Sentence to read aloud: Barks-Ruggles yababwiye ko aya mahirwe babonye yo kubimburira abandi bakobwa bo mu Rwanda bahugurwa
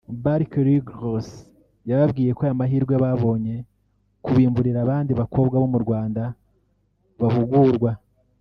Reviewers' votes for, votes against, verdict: 1, 2, rejected